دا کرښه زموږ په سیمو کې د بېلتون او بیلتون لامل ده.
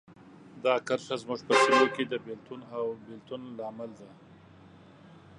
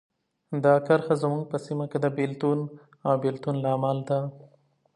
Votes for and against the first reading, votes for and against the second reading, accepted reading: 0, 2, 2, 1, second